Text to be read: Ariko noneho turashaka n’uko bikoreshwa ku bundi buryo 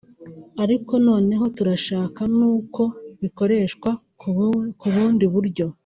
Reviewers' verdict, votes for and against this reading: rejected, 1, 2